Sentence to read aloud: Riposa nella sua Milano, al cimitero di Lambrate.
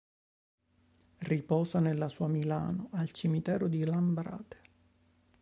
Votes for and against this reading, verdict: 2, 0, accepted